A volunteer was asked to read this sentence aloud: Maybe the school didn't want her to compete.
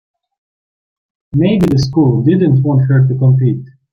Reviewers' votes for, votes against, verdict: 2, 1, accepted